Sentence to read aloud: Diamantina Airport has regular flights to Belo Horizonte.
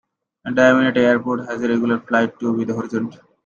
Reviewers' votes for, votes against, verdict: 1, 2, rejected